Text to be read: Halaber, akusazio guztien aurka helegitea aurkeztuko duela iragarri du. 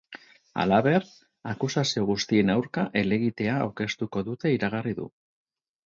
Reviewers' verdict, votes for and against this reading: rejected, 2, 4